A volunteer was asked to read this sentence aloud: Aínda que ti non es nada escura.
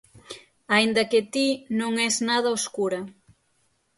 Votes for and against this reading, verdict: 0, 6, rejected